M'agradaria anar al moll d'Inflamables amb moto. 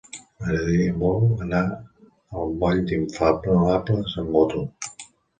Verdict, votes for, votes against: rejected, 1, 2